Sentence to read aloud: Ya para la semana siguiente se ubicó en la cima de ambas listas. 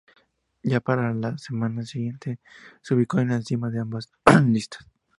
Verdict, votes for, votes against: accepted, 2, 0